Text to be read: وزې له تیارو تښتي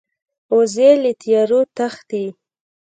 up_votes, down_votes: 1, 2